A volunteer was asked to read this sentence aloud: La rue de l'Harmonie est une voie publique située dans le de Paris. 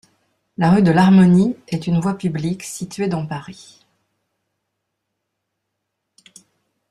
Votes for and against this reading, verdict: 1, 2, rejected